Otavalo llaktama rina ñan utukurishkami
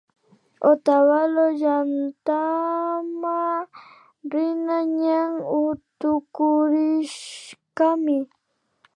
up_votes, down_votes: 1, 2